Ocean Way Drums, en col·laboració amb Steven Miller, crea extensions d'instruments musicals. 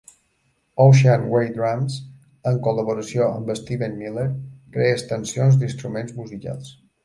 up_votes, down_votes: 1, 2